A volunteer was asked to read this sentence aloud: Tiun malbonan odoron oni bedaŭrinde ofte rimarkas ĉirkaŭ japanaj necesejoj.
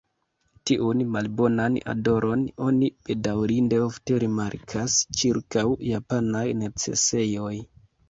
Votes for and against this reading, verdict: 2, 3, rejected